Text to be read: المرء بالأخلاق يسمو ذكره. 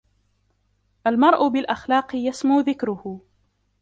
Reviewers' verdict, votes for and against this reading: accepted, 2, 0